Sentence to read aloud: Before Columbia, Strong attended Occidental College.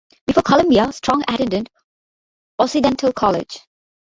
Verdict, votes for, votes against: rejected, 0, 2